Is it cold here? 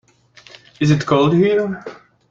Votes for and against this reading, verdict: 1, 2, rejected